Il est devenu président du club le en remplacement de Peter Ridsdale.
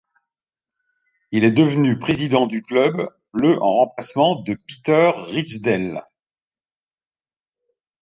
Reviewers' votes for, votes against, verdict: 2, 1, accepted